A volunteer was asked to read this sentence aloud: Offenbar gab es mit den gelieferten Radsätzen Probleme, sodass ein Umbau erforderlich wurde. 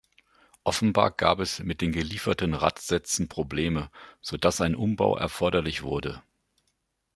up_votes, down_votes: 2, 0